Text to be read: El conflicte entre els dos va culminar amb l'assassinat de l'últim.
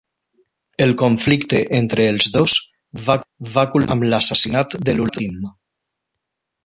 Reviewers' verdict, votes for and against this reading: rejected, 0, 2